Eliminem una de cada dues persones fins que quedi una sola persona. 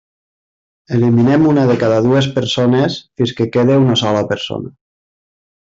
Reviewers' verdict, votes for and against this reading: rejected, 0, 2